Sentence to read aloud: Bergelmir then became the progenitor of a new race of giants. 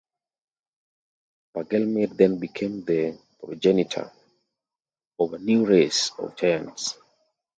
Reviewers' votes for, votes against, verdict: 2, 1, accepted